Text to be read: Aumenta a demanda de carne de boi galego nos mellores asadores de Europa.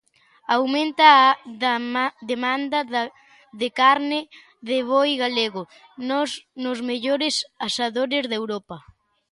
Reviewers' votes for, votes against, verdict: 0, 2, rejected